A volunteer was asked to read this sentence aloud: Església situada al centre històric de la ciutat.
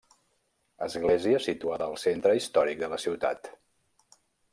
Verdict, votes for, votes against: accepted, 3, 0